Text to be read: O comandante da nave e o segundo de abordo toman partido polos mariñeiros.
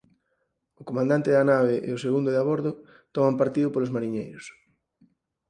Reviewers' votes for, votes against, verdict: 4, 0, accepted